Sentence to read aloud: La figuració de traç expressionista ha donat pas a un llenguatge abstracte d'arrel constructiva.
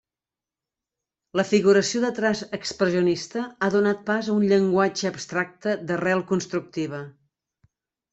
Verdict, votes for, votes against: accepted, 2, 1